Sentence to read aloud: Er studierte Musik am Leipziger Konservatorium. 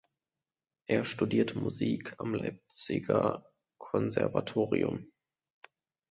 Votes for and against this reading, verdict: 2, 0, accepted